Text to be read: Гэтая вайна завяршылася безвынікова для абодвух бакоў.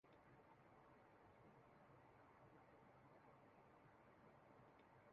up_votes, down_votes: 0, 2